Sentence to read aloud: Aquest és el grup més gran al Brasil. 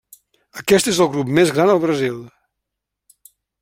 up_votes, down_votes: 3, 0